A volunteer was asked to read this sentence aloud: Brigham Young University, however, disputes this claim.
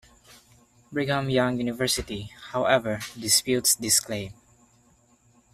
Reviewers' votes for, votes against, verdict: 0, 2, rejected